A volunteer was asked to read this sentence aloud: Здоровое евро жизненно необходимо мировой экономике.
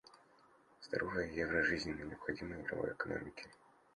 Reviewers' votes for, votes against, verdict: 0, 2, rejected